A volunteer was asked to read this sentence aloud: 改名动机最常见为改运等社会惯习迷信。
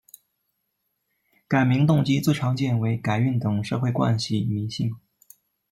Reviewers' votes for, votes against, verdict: 1, 2, rejected